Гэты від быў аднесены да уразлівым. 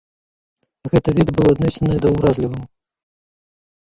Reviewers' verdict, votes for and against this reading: rejected, 1, 2